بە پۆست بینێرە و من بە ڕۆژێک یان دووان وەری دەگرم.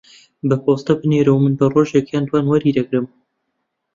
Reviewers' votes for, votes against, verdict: 0, 2, rejected